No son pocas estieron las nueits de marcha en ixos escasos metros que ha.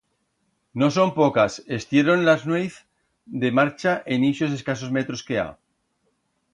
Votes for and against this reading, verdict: 1, 2, rejected